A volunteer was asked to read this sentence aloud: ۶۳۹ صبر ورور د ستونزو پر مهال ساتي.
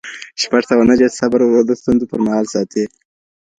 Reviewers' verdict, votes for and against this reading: rejected, 0, 2